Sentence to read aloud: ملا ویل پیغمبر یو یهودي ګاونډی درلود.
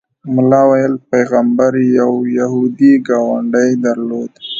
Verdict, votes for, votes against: rejected, 0, 2